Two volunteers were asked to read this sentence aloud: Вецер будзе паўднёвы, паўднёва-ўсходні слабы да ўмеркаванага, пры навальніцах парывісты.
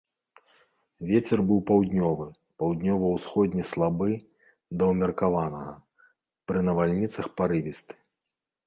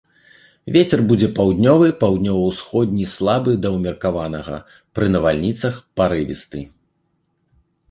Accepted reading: second